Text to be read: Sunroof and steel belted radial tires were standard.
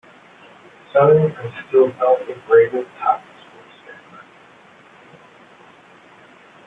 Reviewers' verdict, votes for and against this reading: rejected, 0, 2